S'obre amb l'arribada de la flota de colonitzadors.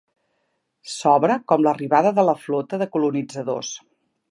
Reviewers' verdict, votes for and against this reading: rejected, 0, 2